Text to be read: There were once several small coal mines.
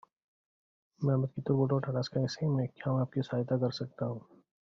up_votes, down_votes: 0, 2